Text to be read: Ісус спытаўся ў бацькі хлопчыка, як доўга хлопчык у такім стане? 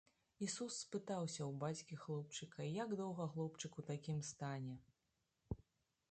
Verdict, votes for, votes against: accepted, 2, 0